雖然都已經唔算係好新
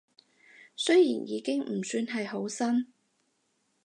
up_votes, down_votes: 2, 4